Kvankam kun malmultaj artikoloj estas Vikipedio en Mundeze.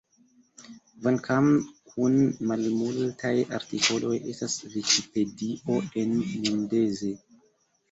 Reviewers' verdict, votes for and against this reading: rejected, 1, 2